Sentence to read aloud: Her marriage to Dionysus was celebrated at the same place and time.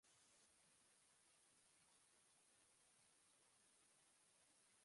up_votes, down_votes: 0, 2